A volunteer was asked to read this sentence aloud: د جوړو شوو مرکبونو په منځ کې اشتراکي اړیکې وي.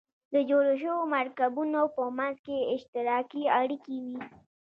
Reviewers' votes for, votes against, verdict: 2, 1, accepted